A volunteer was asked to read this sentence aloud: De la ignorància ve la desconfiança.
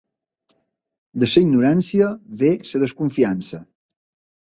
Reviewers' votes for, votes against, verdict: 0, 3, rejected